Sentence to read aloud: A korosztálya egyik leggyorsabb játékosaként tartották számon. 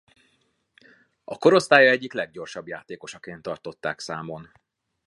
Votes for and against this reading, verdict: 2, 0, accepted